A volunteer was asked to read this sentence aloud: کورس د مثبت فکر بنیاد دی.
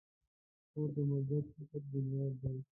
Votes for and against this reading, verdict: 0, 2, rejected